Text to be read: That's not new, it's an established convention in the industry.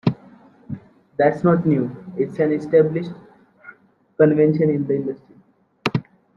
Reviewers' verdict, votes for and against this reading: rejected, 1, 2